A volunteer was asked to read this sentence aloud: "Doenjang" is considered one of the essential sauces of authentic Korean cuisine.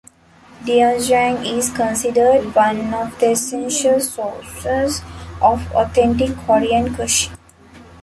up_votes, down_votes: 0, 2